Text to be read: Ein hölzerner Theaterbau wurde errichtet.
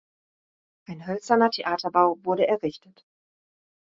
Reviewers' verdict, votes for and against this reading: accepted, 2, 0